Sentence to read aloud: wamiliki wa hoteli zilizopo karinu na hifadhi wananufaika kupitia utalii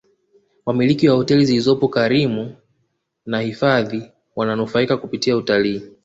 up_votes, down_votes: 2, 0